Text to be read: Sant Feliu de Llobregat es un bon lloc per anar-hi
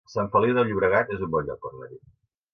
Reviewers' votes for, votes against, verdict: 1, 2, rejected